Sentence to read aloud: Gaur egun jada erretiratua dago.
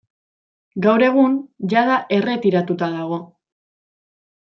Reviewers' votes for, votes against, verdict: 0, 2, rejected